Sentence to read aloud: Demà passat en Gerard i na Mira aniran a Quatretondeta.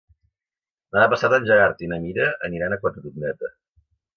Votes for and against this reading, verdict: 0, 2, rejected